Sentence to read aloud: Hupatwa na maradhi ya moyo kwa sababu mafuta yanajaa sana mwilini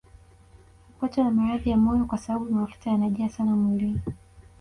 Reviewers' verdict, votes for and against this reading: rejected, 2, 3